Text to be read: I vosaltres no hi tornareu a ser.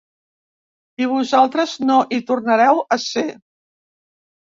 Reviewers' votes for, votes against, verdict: 3, 0, accepted